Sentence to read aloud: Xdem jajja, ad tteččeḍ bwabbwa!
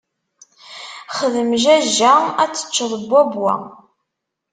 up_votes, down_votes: 2, 0